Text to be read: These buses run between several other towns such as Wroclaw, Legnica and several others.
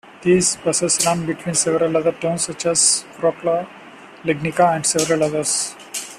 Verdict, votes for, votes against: accepted, 2, 0